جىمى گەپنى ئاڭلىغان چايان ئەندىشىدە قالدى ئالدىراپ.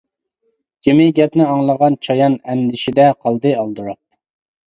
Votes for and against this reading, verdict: 2, 0, accepted